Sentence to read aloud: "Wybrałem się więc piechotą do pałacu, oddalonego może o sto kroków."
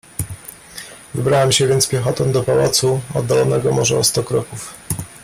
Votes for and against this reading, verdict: 2, 0, accepted